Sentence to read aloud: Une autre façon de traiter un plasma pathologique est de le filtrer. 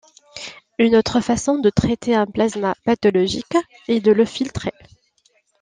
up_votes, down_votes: 2, 0